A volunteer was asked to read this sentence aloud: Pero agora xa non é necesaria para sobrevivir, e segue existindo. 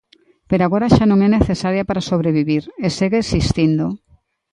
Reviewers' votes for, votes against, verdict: 2, 0, accepted